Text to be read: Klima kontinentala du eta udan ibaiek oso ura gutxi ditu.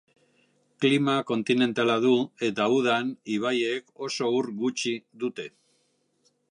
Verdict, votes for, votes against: rejected, 0, 2